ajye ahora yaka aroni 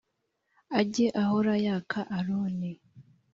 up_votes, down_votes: 3, 0